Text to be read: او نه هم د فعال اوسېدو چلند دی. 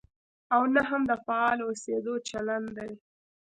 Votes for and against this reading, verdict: 1, 2, rejected